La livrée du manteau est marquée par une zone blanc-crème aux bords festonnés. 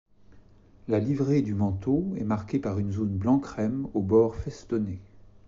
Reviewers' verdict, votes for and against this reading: accepted, 2, 0